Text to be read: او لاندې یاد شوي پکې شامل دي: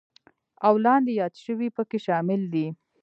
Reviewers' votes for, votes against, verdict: 1, 2, rejected